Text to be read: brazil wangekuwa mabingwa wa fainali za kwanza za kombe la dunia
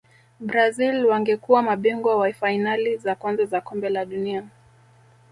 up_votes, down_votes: 1, 2